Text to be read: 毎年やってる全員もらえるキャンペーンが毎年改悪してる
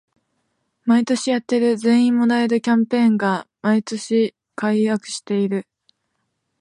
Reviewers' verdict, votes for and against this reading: rejected, 0, 2